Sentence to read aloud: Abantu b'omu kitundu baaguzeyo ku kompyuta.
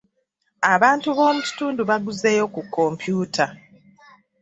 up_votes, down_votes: 2, 1